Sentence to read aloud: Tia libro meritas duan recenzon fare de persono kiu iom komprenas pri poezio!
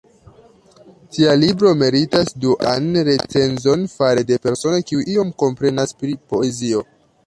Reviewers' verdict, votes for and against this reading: rejected, 0, 2